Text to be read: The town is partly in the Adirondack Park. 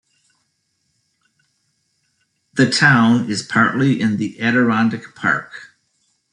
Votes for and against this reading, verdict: 1, 2, rejected